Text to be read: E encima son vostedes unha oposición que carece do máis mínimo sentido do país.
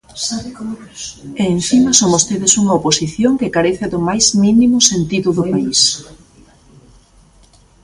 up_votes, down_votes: 1, 2